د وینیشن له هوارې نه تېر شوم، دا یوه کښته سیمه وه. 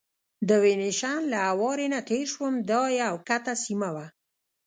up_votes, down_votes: 0, 2